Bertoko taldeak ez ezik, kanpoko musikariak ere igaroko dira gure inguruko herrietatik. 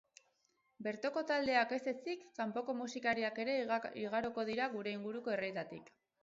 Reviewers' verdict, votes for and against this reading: rejected, 2, 4